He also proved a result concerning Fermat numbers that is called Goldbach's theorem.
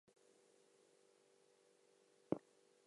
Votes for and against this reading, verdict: 0, 2, rejected